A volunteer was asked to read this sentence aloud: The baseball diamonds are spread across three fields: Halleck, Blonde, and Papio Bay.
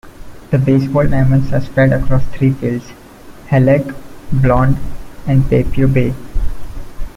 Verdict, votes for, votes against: accepted, 2, 0